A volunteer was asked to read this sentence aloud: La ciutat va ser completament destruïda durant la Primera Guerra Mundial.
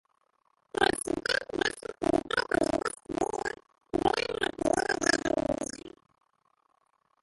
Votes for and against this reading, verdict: 0, 2, rejected